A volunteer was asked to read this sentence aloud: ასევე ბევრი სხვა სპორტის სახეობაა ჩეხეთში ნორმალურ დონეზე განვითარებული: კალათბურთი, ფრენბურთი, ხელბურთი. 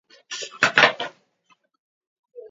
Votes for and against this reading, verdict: 1, 2, rejected